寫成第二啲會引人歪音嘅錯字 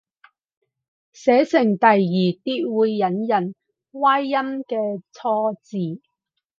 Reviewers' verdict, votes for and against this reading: accepted, 4, 0